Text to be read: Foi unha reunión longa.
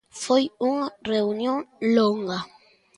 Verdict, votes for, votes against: accepted, 2, 0